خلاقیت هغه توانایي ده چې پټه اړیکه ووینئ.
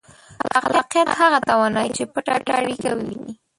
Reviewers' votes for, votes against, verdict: 1, 2, rejected